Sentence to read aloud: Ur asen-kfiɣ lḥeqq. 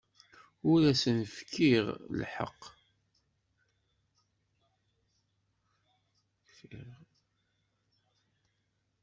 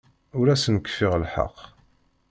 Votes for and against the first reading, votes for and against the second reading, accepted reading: 1, 2, 2, 0, second